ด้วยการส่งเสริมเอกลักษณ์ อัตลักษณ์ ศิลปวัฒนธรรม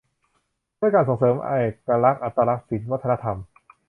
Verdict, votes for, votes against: rejected, 0, 2